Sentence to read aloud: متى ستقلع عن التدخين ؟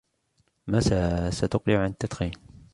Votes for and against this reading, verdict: 0, 2, rejected